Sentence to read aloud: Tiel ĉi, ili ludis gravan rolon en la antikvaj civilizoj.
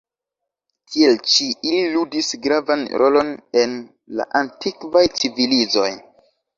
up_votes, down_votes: 2, 0